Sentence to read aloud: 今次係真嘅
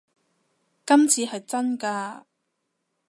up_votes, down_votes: 0, 2